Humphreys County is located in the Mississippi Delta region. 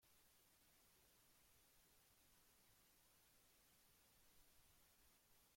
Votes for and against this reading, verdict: 0, 2, rejected